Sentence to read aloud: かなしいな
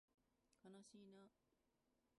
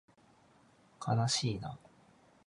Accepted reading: second